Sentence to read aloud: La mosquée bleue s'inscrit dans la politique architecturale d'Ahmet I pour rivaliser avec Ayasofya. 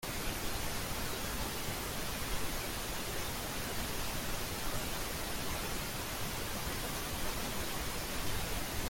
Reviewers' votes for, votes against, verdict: 1, 2, rejected